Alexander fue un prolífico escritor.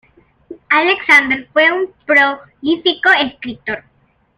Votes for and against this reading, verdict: 2, 1, accepted